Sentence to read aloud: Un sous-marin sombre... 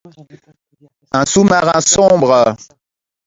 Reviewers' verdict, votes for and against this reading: accepted, 2, 0